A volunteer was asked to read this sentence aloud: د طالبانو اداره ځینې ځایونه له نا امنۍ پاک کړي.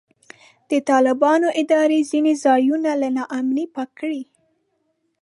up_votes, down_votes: 3, 0